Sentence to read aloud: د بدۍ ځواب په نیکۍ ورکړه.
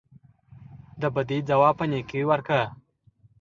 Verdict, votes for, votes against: accepted, 2, 0